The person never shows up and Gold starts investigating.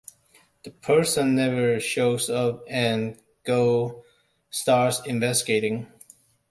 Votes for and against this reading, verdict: 2, 0, accepted